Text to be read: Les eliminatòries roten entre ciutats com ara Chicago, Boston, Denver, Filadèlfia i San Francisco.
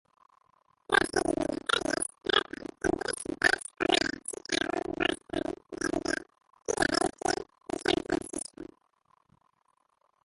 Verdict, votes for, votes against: rejected, 0, 2